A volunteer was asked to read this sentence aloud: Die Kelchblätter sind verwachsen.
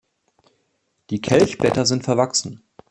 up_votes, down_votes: 2, 1